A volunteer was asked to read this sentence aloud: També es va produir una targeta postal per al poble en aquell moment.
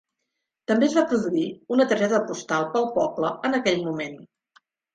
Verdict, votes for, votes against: rejected, 1, 2